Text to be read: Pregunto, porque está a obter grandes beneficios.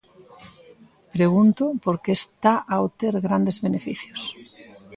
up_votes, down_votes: 2, 0